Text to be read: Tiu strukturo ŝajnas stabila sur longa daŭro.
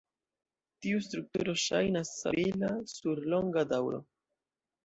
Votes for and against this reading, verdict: 1, 2, rejected